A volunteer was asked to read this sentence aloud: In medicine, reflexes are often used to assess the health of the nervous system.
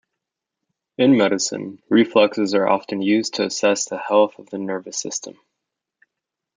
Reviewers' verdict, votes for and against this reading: accepted, 2, 1